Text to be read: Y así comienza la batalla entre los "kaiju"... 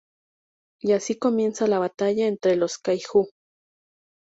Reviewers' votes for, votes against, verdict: 4, 0, accepted